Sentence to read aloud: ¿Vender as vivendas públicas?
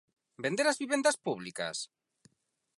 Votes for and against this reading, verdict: 4, 0, accepted